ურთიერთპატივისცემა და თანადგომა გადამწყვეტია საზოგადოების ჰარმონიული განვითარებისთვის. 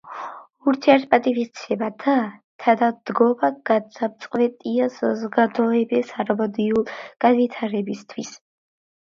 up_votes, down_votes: 2, 1